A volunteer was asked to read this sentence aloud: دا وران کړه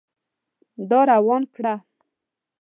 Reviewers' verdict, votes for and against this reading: rejected, 1, 3